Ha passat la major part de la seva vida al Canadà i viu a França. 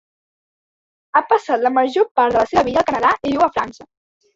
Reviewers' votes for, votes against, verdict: 1, 2, rejected